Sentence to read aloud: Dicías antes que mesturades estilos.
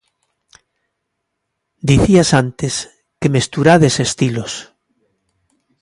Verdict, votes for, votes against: accepted, 2, 0